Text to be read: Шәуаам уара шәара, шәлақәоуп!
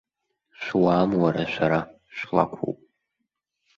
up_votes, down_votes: 1, 2